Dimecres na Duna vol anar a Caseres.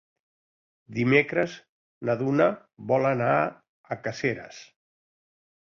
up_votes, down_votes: 2, 0